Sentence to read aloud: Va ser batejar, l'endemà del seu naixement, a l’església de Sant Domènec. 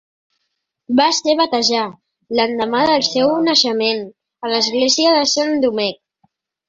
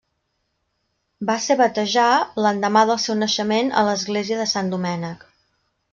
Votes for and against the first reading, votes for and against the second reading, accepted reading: 0, 2, 3, 0, second